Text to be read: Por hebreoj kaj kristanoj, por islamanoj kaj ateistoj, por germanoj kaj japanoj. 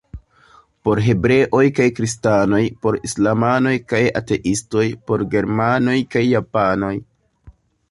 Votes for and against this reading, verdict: 2, 0, accepted